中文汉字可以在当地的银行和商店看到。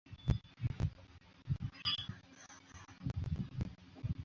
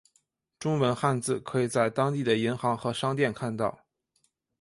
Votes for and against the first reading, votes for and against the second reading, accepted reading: 0, 4, 6, 0, second